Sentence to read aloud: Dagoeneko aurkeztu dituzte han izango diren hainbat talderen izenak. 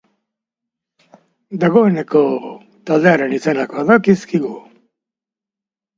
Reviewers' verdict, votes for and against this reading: rejected, 0, 2